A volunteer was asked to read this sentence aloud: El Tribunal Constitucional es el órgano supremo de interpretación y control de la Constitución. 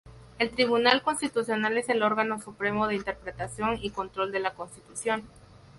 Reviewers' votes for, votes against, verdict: 2, 0, accepted